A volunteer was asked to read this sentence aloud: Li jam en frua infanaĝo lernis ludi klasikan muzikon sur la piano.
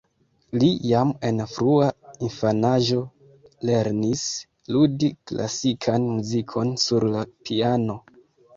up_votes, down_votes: 2, 1